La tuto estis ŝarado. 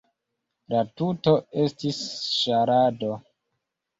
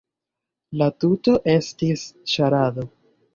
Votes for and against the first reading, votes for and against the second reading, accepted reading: 2, 0, 0, 2, first